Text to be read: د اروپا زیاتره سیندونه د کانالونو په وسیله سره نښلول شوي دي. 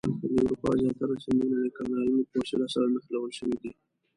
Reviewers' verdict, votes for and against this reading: rejected, 1, 2